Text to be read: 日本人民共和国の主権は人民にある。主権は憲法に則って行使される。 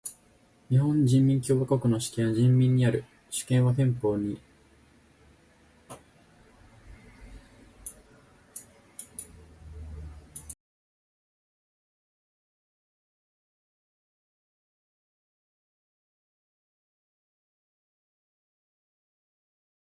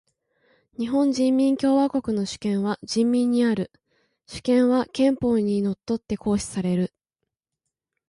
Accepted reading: second